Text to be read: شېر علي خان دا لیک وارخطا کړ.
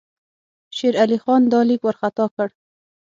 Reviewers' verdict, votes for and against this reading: accepted, 9, 0